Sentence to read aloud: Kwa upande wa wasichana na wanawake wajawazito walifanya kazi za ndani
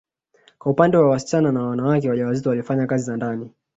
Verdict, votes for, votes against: accepted, 2, 0